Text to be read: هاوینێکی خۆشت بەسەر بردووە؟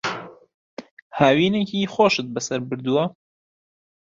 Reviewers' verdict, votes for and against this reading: accepted, 2, 0